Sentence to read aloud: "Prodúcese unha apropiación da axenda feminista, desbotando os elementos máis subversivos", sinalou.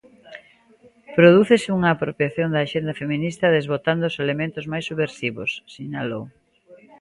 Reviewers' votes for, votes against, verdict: 2, 0, accepted